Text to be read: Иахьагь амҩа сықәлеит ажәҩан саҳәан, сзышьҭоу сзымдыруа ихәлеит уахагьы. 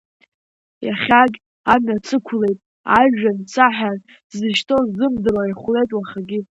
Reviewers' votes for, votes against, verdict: 2, 0, accepted